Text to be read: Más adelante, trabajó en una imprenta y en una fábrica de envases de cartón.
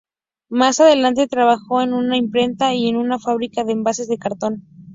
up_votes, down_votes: 6, 0